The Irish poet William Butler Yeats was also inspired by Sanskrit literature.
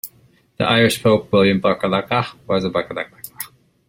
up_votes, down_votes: 0, 2